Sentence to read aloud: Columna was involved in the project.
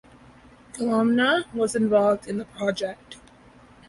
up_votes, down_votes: 2, 0